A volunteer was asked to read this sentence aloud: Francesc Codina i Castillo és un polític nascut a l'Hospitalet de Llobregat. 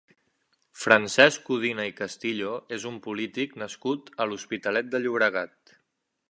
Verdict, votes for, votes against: accepted, 3, 0